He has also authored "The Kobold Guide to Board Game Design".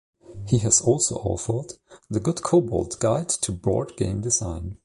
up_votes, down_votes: 0, 2